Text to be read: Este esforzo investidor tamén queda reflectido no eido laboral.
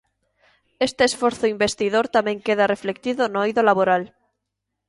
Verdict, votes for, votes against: accepted, 3, 0